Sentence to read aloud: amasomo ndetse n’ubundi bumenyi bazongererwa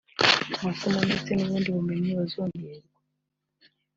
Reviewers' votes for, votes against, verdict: 2, 0, accepted